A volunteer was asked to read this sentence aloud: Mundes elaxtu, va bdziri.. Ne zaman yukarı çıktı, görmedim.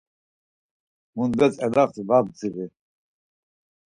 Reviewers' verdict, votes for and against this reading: rejected, 2, 4